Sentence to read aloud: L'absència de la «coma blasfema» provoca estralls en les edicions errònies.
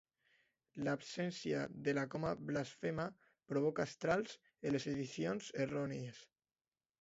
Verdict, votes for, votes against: rejected, 0, 2